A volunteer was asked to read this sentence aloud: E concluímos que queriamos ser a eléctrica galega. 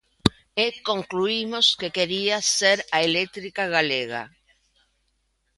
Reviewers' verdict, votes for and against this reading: rejected, 1, 3